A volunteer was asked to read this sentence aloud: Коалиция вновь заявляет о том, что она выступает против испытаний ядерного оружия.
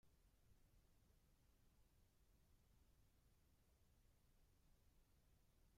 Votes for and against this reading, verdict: 0, 2, rejected